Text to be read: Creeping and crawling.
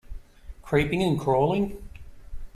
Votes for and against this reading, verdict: 2, 0, accepted